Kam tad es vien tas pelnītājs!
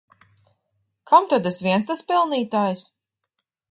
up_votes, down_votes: 0, 2